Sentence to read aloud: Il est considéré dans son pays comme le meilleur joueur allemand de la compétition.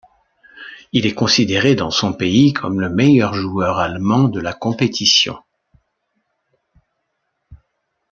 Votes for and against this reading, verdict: 2, 0, accepted